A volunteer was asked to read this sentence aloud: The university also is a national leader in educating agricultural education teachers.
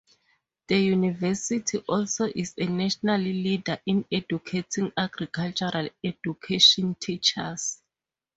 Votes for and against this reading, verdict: 2, 0, accepted